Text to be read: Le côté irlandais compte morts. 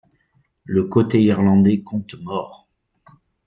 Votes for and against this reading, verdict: 2, 0, accepted